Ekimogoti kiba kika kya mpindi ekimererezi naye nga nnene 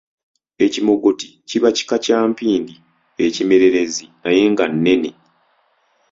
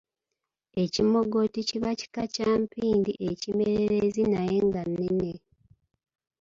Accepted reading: first